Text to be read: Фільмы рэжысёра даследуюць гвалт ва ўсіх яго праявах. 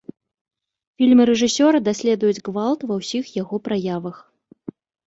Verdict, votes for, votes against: rejected, 2, 3